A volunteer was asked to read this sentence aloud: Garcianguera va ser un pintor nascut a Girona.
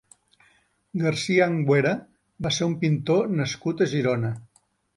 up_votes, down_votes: 1, 2